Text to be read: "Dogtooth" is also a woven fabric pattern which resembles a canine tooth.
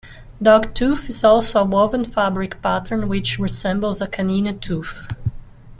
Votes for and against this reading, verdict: 1, 2, rejected